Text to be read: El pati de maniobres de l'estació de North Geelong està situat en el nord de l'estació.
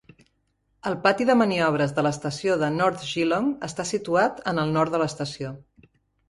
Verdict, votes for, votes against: accepted, 2, 0